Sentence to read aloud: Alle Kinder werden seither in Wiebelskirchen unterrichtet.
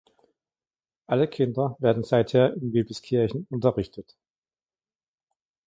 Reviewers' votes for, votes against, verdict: 2, 0, accepted